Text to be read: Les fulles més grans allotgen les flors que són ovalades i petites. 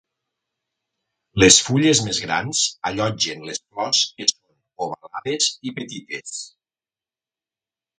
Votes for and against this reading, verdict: 1, 2, rejected